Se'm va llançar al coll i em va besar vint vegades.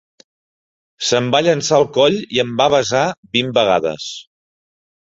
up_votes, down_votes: 3, 1